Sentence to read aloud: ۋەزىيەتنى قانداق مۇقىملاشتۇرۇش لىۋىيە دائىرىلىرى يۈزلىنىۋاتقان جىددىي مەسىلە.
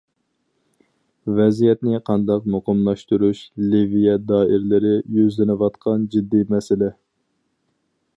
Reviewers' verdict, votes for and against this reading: accepted, 4, 0